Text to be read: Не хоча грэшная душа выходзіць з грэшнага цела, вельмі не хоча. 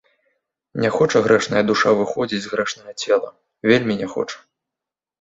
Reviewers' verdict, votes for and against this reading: accepted, 2, 0